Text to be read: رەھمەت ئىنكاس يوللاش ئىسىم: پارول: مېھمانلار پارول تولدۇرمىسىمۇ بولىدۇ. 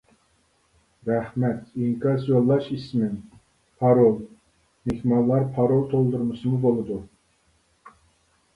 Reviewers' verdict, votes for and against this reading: rejected, 0, 2